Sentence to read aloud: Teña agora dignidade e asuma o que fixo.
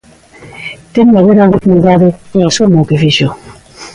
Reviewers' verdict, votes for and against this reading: rejected, 0, 2